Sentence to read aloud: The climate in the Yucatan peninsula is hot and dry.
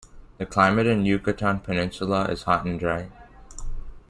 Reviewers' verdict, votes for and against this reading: rejected, 1, 2